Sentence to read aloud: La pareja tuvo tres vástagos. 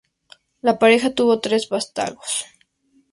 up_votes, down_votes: 2, 0